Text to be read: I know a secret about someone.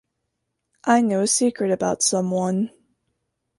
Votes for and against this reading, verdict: 2, 0, accepted